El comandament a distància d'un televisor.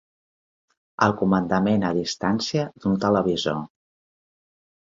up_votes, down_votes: 3, 0